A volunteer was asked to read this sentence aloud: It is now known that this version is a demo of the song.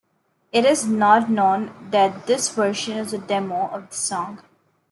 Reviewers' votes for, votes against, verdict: 1, 2, rejected